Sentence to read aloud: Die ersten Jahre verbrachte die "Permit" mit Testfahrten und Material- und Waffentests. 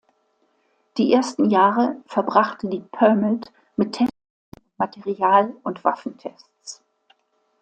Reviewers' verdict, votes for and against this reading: rejected, 0, 2